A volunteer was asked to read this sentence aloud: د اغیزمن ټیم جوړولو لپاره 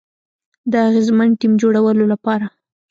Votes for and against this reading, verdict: 1, 2, rejected